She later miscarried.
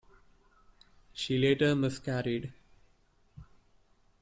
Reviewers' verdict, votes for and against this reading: accepted, 2, 1